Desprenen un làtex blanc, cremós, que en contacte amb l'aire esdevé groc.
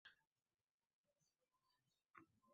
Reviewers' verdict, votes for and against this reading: rejected, 0, 3